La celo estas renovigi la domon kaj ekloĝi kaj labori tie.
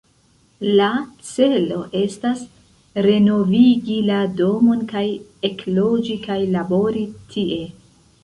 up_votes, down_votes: 1, 2